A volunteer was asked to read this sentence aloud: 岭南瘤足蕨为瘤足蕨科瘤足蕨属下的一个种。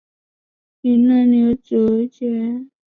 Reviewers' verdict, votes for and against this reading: rejected, 0, 2